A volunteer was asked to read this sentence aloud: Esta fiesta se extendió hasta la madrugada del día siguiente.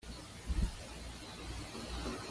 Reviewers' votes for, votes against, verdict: 1, 2, rejected